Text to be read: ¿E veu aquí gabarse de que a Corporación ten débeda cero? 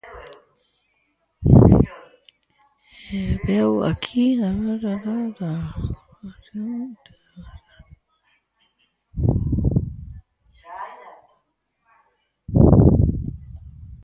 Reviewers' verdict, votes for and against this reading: rejected, 0, 4